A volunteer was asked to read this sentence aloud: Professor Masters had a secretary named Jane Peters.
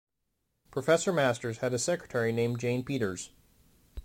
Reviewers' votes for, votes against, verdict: 1, 2, rejected